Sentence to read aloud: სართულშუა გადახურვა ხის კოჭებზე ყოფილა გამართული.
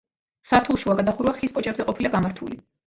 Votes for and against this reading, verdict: 2, 0, accepted